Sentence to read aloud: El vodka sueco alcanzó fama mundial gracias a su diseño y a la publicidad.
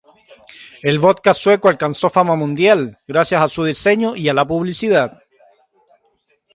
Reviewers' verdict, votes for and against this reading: accepted, 3, 0